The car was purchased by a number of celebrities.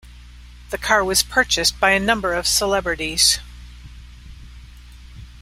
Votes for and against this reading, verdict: 2, 0, accepted